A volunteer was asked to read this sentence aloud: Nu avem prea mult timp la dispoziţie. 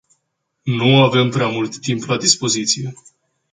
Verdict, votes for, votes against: accepted, 2, 0